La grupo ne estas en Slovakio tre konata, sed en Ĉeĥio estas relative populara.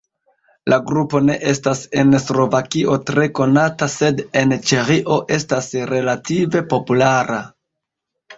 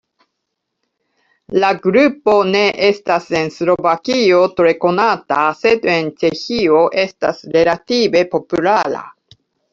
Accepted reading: second